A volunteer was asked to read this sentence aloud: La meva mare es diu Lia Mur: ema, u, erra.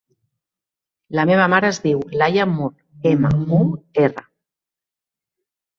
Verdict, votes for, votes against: rejected, 0, 2